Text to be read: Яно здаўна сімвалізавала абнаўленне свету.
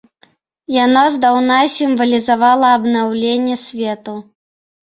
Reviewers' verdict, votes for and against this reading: accepted, 2, 0